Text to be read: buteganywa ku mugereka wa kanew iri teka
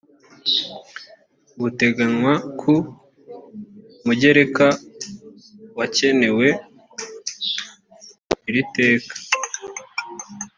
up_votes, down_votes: 1, 2